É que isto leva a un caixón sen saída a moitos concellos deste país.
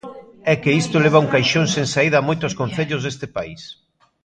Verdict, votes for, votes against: accepted, 2, 0